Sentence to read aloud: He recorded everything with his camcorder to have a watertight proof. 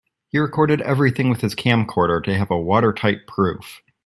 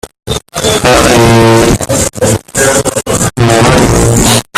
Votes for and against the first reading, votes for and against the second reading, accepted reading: 2, 0, 0, 2, first